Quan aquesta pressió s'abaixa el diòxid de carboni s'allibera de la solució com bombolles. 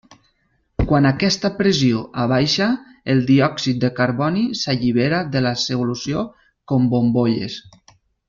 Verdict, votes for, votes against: rejected, 1, 2